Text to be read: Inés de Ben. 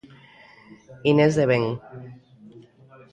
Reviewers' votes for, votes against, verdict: 2, 1, accepted